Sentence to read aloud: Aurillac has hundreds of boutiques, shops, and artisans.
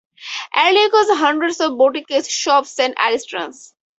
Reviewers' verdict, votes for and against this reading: rejected, 0, 4